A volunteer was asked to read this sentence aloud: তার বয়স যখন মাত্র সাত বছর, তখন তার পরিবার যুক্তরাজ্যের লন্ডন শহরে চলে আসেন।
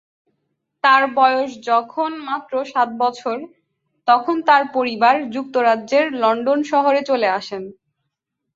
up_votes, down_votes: 4, 0